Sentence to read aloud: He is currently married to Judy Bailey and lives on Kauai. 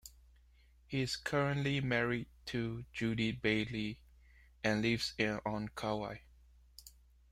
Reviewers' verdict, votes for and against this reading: rejected, 1, 2